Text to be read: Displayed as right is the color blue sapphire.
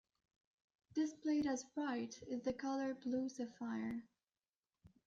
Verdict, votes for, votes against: accepted, 2, 0